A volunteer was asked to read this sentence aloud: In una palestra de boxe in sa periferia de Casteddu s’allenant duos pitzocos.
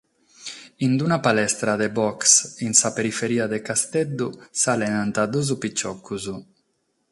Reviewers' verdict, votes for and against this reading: rejected, 3, 3